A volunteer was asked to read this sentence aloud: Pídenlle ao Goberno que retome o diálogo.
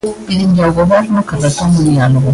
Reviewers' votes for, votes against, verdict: 0, 2, rejected